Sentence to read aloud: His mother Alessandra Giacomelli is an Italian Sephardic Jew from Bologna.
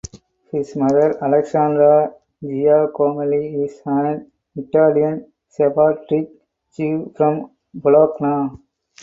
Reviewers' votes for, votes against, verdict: 2, 2, rejected